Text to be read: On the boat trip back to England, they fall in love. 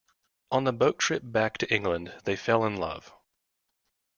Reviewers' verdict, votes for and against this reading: rejected, 0, 2